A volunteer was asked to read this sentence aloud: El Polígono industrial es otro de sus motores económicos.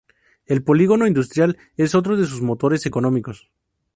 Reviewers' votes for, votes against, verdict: 2, 2, rejected